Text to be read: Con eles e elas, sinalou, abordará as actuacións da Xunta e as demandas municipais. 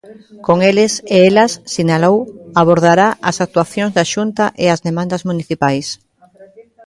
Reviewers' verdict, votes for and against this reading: accepted, 3, 0